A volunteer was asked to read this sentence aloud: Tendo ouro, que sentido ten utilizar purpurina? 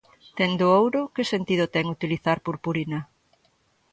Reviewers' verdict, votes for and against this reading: accepted, 2, 0